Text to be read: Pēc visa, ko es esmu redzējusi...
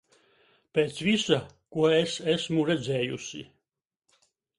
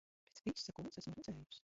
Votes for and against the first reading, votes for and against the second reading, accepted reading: 2, 0, 0, 2, first